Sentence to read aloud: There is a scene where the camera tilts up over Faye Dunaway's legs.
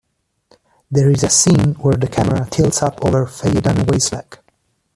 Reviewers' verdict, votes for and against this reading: rejected, 0, 2